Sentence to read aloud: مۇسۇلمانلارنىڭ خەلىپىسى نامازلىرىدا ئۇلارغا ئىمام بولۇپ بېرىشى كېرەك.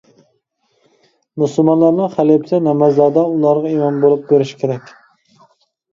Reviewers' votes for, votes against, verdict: 0, 2, rejected